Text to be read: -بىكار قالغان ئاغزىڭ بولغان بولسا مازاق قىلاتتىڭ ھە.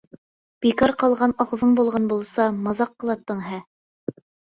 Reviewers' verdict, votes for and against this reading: accepted, 2, 0